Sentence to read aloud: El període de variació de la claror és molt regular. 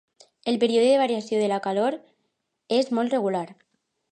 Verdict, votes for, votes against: rejected, 1, 2